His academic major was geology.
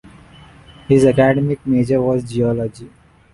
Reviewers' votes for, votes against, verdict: 1, 2, rejected